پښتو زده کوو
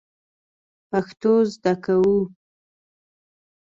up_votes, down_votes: 2, 0